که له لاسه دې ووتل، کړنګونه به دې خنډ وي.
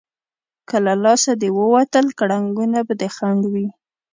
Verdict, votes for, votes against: accepted, 2, 0